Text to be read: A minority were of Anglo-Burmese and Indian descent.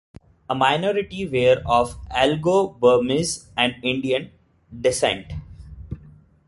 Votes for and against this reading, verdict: 1, 2, rejected